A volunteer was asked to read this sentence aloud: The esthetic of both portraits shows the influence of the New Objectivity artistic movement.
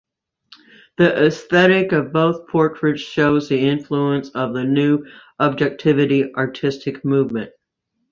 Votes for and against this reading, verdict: 2, 0, accepted